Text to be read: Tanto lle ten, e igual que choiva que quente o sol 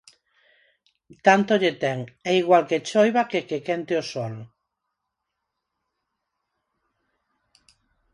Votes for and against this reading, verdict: 2, 4, rejected